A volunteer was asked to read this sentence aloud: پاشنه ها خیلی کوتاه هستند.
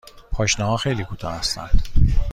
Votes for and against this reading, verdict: 2, 0, accepted